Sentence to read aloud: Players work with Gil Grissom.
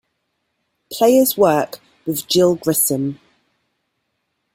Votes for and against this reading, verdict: 0, 2, rejected